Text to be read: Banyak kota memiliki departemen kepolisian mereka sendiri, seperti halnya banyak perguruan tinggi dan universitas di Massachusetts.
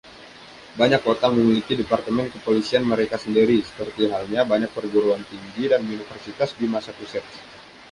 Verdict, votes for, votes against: accepted, 2, 0